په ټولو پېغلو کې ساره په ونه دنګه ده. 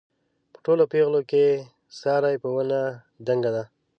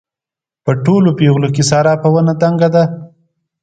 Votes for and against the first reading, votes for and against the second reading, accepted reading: 1, 2, 2, 0, second